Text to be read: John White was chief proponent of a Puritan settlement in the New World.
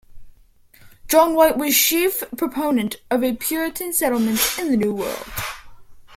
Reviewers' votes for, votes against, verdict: 2, 1, accepted